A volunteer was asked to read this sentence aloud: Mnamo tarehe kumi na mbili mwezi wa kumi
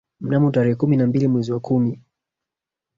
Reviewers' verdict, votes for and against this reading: accepted, 2, 1